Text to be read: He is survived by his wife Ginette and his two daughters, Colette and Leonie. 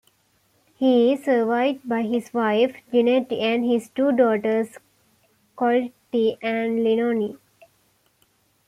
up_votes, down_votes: 2, 1